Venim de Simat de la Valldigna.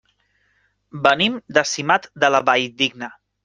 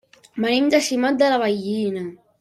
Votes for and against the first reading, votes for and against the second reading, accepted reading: 3, 0, 0, 2, first